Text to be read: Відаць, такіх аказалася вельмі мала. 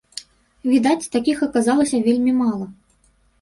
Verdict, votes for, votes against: accepted, 2, 0